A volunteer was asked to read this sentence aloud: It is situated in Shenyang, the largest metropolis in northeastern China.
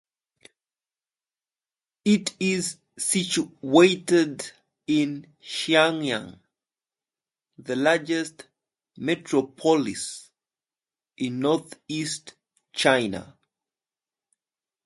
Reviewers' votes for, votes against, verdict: 0, 2, rejected